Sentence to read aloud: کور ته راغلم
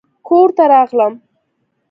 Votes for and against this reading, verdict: 3, 0, accepted